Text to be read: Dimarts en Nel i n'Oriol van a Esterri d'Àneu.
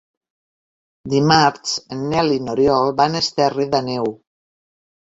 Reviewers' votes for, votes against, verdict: 1, 2, rejected